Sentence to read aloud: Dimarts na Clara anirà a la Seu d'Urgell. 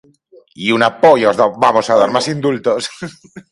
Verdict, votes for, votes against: rejected, 0, 3